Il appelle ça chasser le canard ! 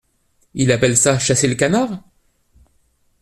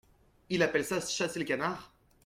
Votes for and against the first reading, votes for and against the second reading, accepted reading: 2, 0, 1, 2, first